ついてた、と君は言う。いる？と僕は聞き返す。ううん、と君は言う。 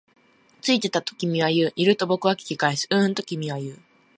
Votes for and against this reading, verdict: 2, 0, accepted